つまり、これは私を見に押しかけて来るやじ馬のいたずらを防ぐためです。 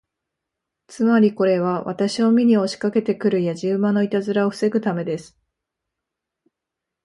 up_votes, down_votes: 2, 0